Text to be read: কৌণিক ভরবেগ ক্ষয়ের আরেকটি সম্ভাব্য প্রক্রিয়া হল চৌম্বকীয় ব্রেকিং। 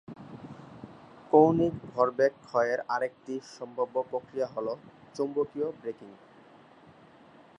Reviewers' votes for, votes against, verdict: 2, 0, accepted